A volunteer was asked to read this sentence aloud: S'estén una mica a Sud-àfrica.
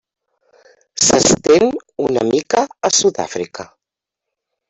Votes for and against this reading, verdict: 1, 2, rejected